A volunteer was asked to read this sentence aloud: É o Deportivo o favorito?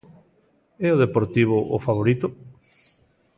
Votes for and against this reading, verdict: 2, 0, accepted